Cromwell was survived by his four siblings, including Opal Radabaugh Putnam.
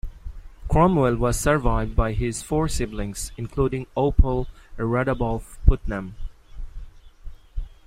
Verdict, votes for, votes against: accepted, 2, 0